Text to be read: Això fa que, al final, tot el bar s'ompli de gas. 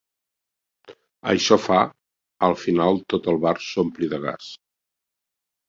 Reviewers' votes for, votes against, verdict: 2, 3, rejected